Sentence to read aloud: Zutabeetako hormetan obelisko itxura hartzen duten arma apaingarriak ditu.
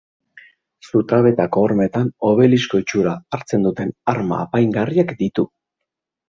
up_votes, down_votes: 3, 0